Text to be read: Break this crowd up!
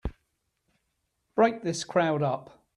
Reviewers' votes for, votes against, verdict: 3, 0, accepted